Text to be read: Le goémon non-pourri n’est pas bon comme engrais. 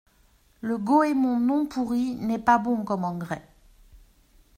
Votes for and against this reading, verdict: 2, 0, accepted